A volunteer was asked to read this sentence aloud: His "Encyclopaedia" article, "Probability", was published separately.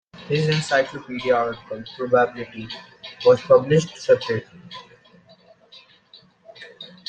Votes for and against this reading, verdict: 2, 1, accepted